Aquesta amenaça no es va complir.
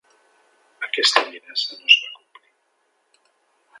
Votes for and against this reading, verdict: 2, 0, accepted